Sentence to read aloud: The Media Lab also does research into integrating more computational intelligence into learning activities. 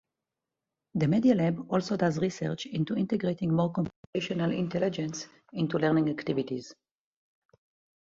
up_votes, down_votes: 2, 2